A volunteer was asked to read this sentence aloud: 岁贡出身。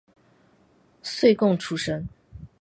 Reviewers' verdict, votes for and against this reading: accepted, 4, 0